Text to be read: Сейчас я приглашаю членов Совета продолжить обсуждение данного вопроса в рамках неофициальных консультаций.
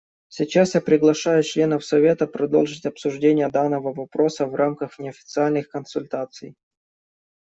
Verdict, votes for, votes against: accepted, 2, 0